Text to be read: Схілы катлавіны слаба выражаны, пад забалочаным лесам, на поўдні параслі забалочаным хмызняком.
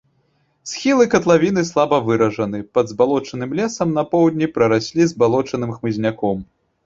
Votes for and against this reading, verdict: 2, 3, rejected